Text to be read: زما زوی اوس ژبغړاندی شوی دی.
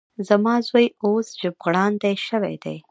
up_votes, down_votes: 1, 2